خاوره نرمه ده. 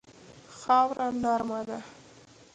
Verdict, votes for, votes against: accepted, 2, 1